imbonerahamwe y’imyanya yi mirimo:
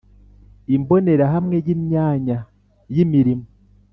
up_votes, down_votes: 1, 2